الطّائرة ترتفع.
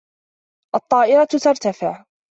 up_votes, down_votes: 2, 0